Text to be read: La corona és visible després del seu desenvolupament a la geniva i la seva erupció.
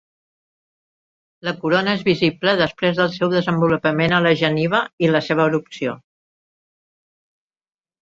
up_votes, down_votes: 2, 1